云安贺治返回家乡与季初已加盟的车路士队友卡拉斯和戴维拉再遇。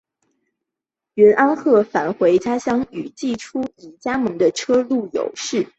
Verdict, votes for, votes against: rejected, 1, 2